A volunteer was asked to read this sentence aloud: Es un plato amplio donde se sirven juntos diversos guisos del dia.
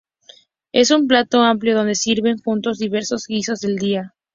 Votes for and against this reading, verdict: 2, 2, rejected